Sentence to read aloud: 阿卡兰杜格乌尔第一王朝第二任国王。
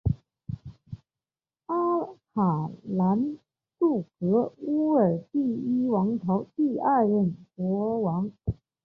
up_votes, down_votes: 2, 0